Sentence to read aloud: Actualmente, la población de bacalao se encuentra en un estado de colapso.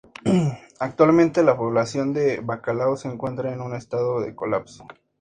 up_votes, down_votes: 2, 0